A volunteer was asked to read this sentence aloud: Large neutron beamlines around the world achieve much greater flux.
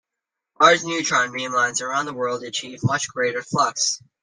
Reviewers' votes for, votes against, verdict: 1, 2, rejected